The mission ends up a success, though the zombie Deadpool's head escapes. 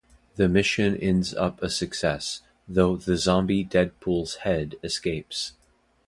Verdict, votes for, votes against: accepted, 2, 0